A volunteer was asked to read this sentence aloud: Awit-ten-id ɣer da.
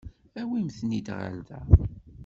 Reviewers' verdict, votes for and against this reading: rejected, 1, 2